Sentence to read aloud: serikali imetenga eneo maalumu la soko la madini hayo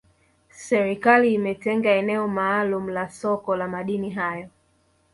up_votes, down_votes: 2, 1